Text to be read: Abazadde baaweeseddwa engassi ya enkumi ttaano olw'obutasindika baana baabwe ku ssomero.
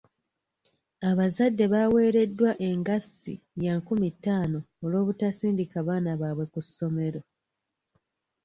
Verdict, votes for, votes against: rejected, 1, 2